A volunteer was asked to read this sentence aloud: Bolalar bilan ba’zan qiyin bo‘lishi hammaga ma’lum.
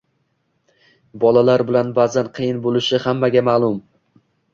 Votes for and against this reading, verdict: 2, 0, accepted